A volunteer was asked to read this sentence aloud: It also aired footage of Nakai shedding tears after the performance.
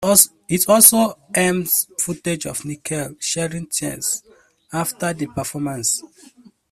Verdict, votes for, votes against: rejected, 0, 2